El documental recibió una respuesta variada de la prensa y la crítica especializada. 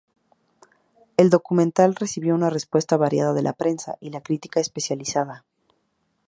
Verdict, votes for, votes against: accepted, 2, 0